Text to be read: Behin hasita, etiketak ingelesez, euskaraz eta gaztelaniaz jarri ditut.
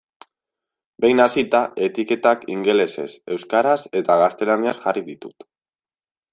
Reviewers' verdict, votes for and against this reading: rejected, 1, 2